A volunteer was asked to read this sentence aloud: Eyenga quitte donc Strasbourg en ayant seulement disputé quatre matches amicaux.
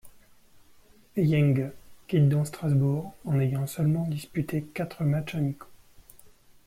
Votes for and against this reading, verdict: 1, 2, rejected